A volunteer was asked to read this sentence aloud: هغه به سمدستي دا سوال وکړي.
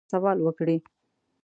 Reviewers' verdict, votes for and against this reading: rejected, 0, 2